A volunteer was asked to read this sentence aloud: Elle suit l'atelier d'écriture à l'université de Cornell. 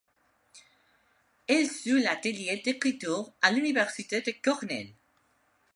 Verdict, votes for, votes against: rejected, 1, 2